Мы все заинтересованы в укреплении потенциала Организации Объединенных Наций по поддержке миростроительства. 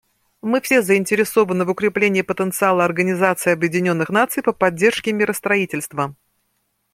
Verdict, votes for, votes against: accepted, 2, 0